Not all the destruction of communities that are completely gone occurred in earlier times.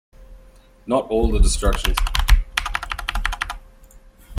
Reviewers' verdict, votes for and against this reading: rejected, 0, 2